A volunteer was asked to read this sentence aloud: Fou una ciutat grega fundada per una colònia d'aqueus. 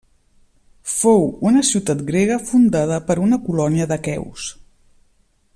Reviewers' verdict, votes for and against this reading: accepted, 2, 0